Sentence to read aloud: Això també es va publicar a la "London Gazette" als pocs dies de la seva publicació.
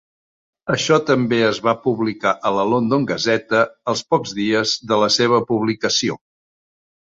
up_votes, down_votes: 0, 2